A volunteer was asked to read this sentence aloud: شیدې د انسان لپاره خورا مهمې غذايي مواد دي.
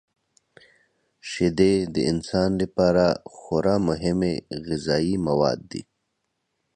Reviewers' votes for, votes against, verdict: 2, 0, accepted